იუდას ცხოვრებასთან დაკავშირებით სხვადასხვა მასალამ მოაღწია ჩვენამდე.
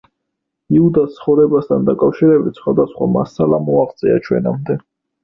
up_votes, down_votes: 2, 0